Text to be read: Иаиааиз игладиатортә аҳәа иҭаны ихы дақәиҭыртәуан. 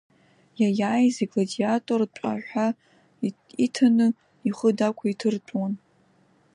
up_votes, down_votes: 1, 2